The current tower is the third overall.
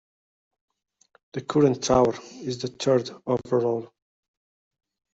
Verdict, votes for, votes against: accepted, 2, 0